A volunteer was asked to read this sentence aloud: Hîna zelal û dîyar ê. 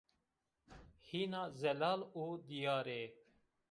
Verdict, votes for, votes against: rejected, 0, 2